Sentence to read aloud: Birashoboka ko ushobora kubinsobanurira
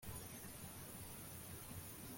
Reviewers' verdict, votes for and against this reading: rejected, 0, 2